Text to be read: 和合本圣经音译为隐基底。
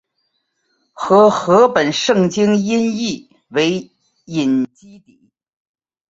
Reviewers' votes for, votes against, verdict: 2, 0, accepted